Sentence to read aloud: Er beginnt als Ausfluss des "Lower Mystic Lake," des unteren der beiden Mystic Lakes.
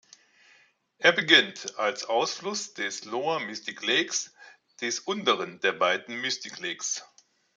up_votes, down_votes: 1, 2